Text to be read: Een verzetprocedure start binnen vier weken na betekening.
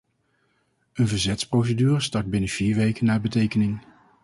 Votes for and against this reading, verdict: 0, 2, rejected